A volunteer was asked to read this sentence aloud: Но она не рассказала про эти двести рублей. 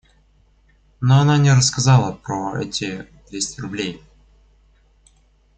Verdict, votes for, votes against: accepted, 2, 0